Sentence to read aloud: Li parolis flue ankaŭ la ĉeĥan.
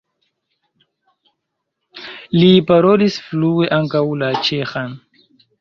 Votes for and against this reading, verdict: 2, 0, accepted